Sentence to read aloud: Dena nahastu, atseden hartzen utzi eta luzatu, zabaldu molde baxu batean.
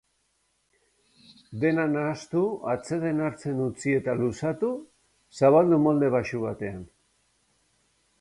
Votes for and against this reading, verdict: 3, 0, accepted